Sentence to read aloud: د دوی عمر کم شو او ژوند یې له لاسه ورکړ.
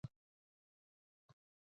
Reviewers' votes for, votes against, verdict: 1, 2, rejected